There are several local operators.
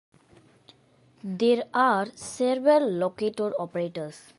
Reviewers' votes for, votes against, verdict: 0, 3, rejected